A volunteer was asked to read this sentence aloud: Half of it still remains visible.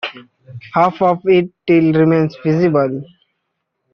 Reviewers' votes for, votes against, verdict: 1, 2, rejected